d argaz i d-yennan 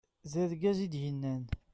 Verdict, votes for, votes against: rejected, 0, 2